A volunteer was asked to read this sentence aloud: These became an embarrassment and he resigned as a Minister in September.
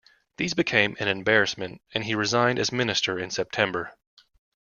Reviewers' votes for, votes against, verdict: 0, 2, rejected